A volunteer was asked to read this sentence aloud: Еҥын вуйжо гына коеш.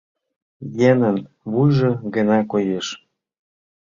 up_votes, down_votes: 0, 2